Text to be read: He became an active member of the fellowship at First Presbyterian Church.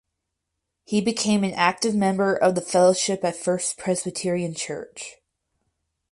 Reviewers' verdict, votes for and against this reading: accepted, 4, 0